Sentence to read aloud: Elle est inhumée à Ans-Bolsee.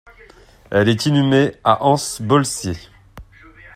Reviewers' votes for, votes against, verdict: 2, 1, accepted